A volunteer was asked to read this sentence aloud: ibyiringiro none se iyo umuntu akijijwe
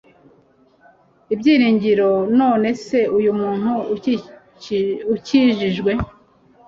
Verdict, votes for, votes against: rejected, 1, 2